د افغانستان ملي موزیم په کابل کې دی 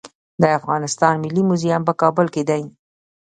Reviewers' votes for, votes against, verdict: 2, 1, accepted